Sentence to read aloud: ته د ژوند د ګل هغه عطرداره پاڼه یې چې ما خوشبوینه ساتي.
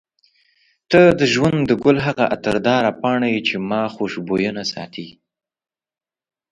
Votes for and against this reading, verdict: 2, 0, accepted